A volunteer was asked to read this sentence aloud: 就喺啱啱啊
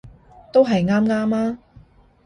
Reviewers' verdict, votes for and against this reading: rejected, 0, 2